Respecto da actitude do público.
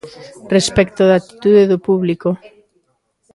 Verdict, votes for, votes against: accepted, 2, 0